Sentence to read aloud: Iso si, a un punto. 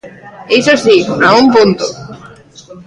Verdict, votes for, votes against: rejected, 1, 2